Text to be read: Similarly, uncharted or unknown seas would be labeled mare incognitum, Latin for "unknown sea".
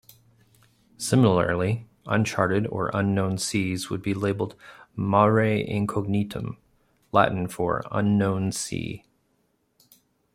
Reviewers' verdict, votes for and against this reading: accepted, 2, 0